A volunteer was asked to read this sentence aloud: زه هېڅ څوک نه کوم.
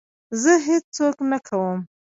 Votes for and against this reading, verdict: 2, 1, accepted